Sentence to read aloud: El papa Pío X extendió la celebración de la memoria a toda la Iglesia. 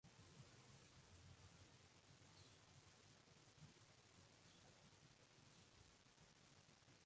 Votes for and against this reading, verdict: 2, 0, accepted